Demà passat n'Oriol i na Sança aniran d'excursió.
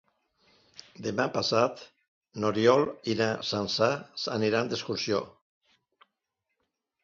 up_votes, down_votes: 1, 2